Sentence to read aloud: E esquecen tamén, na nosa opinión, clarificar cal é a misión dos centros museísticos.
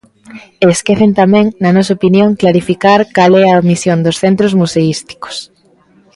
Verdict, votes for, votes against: accepted, 3, 0